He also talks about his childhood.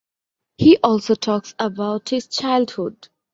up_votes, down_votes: 2, 0